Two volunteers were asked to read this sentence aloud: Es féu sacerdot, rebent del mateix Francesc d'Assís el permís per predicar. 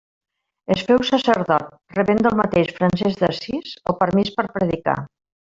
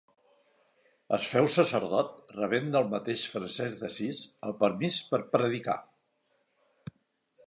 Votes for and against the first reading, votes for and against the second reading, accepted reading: 1, 2, 2, 1, second